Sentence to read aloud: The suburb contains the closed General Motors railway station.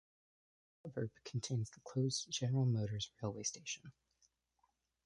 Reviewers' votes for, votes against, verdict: 1, 2, rejected